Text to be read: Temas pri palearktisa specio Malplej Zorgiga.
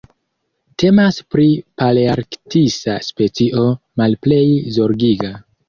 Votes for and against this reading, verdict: 2, 0, accepted